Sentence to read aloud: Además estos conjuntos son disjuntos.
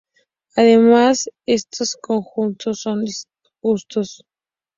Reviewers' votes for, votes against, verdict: 0, 2, rejected